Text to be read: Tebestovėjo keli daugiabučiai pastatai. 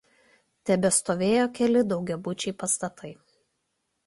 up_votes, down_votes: 2, 0